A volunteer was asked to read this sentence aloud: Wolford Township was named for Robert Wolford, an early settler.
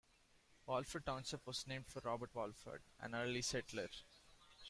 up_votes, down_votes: 0, 2